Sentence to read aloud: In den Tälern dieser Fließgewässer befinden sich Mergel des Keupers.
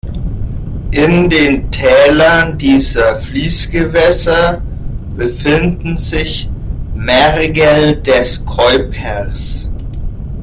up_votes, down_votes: 0, 2